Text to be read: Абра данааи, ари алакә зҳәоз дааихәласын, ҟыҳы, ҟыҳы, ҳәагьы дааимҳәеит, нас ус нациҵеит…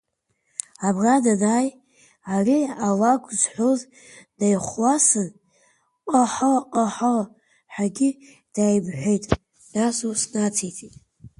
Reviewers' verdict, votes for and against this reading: rejected, 0, 2